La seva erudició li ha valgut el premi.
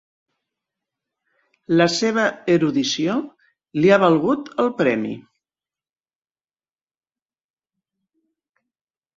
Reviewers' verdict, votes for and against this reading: accepted, 4, 1